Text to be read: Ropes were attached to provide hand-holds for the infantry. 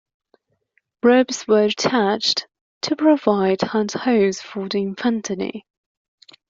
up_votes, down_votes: 1, 2